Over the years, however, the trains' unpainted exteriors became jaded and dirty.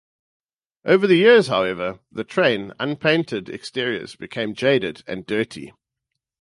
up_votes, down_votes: 0, 4